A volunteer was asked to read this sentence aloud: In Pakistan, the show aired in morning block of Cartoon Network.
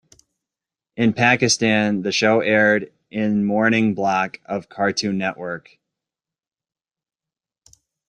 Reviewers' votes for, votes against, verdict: 2, 0, accepted